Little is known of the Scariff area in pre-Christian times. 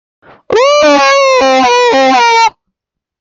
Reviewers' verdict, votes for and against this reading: rejected, 0, 2